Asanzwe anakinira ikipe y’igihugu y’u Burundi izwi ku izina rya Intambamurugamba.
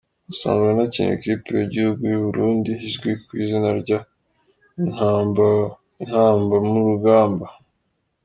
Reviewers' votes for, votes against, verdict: 2, 1, accepted